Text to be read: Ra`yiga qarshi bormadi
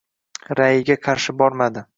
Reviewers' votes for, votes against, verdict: 2, 0, accepted